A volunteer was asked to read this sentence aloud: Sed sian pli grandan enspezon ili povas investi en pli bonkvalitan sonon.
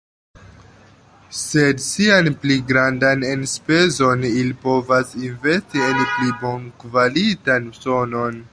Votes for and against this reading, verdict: 3, 2, accepted